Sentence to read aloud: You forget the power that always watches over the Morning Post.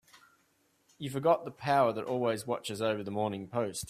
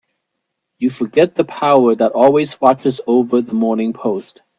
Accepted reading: second